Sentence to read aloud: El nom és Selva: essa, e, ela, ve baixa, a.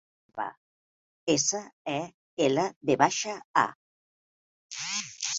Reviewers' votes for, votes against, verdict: 0, 2, rejected